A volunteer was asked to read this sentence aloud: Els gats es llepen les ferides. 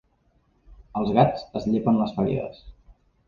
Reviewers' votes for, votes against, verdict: 2, 0, accepted